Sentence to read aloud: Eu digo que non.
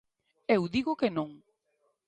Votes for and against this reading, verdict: 2, 0, accepted